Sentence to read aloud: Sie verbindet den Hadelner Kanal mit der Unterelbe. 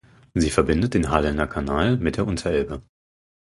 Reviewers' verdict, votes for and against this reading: rejected, 4, 6